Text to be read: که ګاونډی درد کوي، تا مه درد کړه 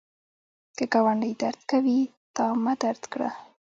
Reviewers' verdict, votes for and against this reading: accepted, 2, 0